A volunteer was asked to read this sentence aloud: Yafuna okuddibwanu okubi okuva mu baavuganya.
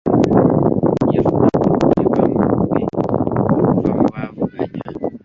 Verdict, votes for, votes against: rejected, 0, 2